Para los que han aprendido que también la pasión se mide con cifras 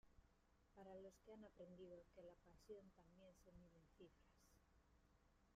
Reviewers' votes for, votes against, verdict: 0, 2, rejected